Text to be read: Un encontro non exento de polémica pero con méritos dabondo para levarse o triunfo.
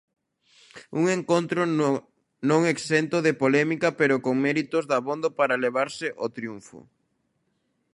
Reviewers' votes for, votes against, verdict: 0, 2, rejected